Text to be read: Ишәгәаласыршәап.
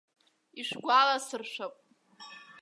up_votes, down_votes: 2, 1